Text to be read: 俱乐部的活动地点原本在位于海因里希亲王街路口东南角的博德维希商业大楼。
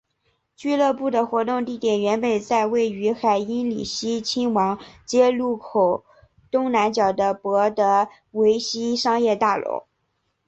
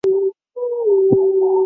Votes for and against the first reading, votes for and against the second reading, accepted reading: 2, 0, 3, 4, first